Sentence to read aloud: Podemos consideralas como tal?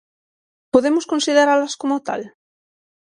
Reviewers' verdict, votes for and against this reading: accepted, 6, 0